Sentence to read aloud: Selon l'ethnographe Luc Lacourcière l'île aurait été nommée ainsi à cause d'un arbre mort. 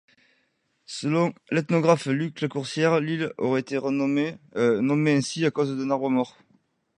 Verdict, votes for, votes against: rejected, 0, 2